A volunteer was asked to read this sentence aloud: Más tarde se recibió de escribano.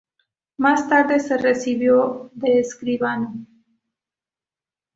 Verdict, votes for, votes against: accepted, 2, 0